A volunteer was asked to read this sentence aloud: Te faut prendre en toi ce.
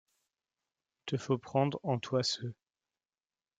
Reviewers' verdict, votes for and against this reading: accepted, 2, 1